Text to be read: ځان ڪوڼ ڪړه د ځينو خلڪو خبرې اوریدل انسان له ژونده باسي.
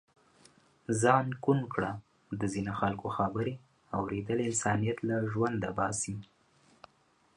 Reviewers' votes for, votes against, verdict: 0, 2, rejected